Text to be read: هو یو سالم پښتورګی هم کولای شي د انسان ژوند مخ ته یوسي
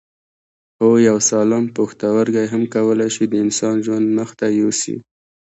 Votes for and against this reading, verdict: 2, 1, accepted